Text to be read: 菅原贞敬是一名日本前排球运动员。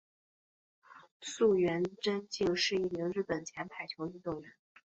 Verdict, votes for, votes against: accepted, 2, 1